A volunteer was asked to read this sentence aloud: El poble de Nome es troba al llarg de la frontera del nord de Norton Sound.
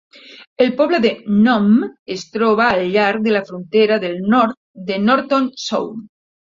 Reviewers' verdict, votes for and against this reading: accepted, 2, 0